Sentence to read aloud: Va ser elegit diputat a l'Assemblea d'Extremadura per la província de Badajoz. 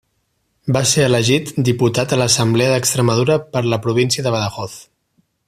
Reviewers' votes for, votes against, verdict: 3, 0, accepted